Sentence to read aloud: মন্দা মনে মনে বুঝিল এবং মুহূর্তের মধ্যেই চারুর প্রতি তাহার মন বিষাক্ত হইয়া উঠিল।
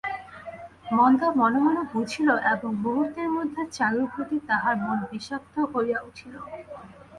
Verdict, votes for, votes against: rejected, 0, 2